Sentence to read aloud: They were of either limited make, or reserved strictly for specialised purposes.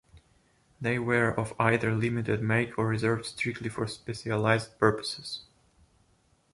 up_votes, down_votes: 1, 2